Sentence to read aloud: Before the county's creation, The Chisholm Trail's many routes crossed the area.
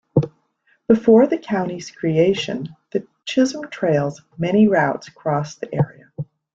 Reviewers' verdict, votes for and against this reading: accepted, 2, 0